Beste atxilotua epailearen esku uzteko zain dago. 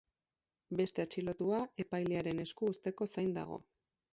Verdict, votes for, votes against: accepted, 4, 0